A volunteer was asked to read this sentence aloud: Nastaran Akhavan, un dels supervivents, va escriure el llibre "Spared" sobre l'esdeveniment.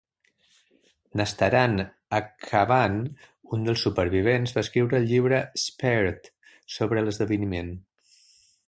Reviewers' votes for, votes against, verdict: 1, 2, rejected